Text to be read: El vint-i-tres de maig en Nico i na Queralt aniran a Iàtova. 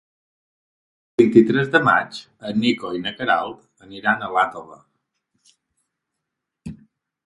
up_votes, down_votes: 2, 4